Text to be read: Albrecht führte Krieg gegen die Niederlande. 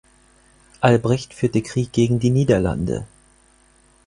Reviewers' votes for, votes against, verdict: 4, 0, accepted